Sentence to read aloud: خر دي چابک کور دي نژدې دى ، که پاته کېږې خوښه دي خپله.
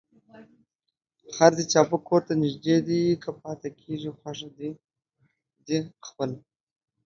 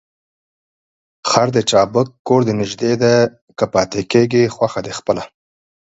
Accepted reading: first